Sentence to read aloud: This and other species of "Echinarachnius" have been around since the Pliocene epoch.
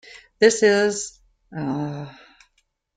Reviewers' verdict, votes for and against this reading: rejected, 0, 2